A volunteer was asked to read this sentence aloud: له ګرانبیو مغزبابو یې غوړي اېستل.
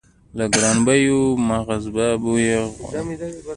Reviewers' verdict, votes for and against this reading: rejected, 1, 2